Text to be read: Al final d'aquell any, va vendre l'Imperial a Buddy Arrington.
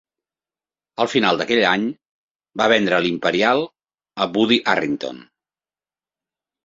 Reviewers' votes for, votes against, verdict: 2, 0, accepted